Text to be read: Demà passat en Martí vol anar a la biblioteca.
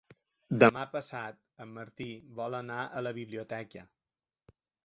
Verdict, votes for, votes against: accepted, 3, 1